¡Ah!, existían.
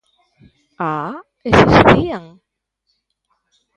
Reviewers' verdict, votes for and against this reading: rejected, 0, 2